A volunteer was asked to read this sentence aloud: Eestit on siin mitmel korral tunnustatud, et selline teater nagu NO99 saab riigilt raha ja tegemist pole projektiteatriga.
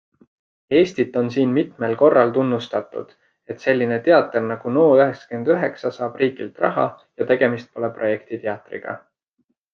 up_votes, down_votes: 0, 2